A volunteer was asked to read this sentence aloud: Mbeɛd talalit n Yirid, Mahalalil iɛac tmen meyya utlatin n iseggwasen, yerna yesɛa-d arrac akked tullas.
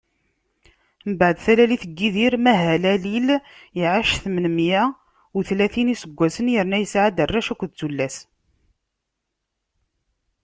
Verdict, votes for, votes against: rejected, 0, 2